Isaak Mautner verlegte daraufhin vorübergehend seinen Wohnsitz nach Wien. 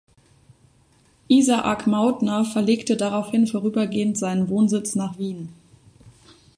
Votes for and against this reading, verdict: 2, 0, accepted